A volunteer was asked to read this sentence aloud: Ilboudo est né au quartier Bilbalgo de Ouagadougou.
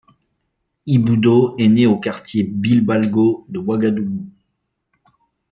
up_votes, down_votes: 0, 2